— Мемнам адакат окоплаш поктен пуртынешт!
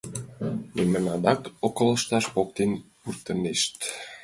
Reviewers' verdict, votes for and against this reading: rejected, 0, 2